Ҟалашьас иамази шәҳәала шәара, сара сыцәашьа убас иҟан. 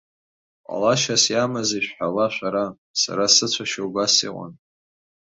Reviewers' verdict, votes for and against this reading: accepted, 3, 0